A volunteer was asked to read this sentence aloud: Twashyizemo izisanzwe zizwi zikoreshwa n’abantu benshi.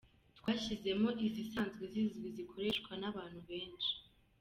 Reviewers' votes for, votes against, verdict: 2, 0, accepted